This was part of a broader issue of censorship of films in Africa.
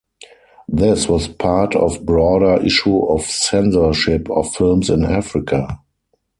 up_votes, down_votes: 2, 4